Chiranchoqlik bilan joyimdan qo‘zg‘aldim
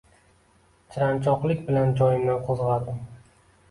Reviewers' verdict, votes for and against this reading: accepted, 2, 1